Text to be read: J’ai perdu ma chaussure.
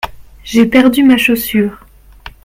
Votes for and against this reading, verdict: 2, 0, accepted